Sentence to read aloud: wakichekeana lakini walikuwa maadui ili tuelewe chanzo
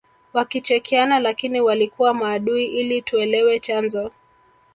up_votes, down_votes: 4, 0